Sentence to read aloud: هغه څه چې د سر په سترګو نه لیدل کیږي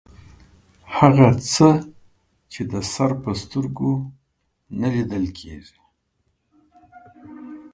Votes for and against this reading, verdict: 2, 0, accepted